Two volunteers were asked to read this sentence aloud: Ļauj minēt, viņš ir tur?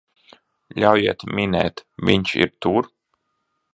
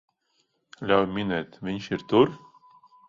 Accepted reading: second